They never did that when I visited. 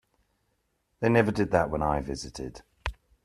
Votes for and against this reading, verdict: 2, 0, accepted